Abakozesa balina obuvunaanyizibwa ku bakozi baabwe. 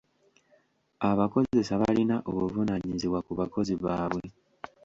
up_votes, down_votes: 3, 0